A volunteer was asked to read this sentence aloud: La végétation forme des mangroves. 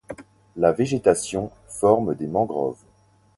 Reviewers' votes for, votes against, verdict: 2, 0, accepted